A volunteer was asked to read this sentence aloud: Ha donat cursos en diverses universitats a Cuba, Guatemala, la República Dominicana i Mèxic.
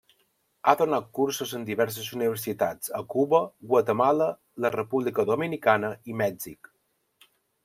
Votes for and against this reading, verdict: 3, 0, accepted